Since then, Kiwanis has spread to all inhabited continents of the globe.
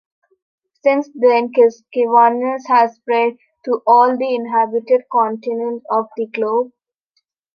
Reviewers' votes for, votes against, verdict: 0, 2, rejected